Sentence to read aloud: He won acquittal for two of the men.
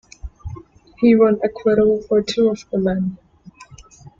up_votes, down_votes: 2, 0